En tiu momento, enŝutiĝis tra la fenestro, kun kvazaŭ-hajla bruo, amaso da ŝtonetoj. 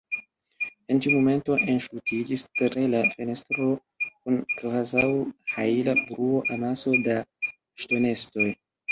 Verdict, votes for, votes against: rejected, 0, 2